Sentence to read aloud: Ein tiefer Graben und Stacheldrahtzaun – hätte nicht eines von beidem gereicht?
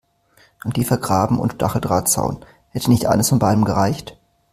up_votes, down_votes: 2, 0